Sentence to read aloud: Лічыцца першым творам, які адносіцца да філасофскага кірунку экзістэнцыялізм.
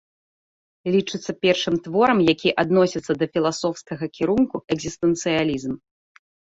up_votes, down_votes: 2, 0